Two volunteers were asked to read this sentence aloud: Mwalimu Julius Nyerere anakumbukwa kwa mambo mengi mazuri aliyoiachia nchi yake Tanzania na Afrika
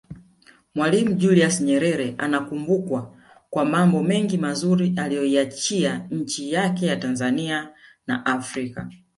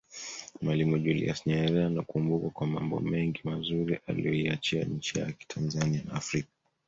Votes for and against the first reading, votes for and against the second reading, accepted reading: 2, 1, 1, 2, first